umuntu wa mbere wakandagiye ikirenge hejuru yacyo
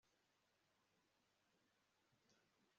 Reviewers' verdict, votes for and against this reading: rejected, 1, 2